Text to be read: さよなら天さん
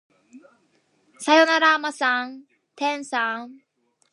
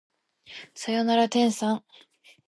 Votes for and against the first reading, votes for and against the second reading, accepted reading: 0, 2, 2, 0, second